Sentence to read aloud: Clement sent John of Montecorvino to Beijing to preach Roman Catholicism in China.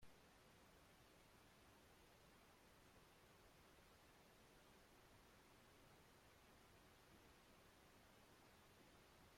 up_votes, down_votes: 0, 2